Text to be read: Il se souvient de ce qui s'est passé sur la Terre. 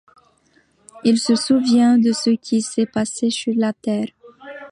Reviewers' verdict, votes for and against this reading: accepted, 2, 0